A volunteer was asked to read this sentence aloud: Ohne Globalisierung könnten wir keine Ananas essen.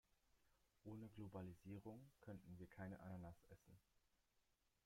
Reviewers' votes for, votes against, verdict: 1, 2, rejected